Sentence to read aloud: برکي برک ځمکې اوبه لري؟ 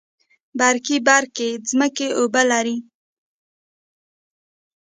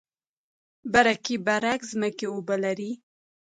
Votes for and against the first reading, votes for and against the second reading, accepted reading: 1, 2, 2, 0, second